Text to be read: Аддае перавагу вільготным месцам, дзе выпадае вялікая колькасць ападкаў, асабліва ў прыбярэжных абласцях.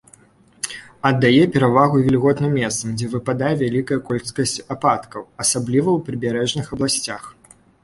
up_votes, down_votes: 0, 2